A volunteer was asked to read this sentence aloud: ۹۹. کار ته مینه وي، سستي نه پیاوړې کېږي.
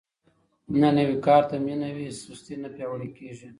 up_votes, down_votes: 0, 2